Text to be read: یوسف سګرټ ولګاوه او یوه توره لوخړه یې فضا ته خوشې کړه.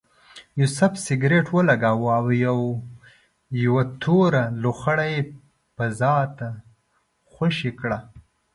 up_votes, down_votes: 0, 2